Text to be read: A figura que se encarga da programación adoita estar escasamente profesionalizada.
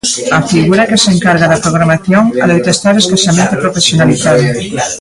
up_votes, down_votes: 2, 1